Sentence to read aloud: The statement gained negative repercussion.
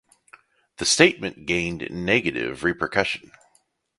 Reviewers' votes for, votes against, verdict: 2, 0, accepted